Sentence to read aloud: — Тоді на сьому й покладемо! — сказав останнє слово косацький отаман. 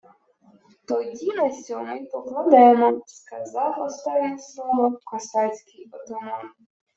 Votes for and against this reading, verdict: 1, 2, rejected